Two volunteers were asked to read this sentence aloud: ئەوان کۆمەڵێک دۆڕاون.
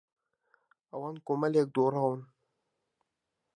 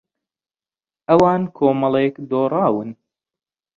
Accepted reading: second